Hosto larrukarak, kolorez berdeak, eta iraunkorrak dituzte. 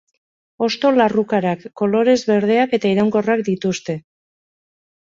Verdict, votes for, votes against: accepted, 2, 0